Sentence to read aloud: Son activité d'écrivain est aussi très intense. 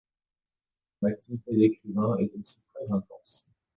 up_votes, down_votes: 0, 2